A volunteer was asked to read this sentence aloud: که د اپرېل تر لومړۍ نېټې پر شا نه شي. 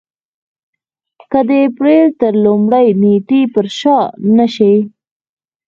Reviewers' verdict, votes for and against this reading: rejected, 0, 4